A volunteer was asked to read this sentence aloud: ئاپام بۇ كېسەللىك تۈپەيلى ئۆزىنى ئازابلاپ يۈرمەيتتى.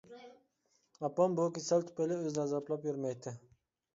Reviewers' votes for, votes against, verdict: 1, 2, rejected